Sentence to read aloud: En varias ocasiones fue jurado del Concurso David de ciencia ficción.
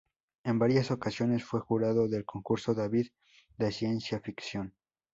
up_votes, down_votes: 2, 0